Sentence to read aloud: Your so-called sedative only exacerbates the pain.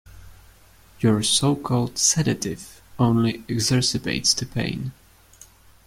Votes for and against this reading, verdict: 1, 2, rejected